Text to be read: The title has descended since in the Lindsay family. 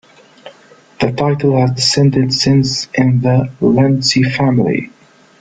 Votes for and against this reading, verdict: 1, 2, rejected